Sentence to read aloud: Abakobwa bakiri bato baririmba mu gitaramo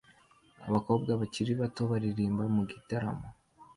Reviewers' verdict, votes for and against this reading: accepted, 2, 0